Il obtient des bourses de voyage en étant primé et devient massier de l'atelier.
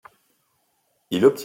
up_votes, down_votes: 0, 2